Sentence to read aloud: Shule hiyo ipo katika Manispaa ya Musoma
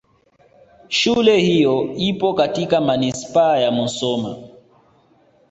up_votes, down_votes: 2, 0